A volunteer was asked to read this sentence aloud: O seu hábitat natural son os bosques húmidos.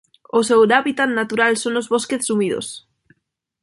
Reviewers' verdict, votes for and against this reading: rejected, 0, 2